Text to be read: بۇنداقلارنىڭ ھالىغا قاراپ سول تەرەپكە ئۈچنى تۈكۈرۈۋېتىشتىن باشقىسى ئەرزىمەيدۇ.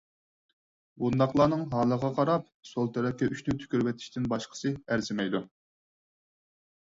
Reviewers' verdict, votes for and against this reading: accepted, 4, 0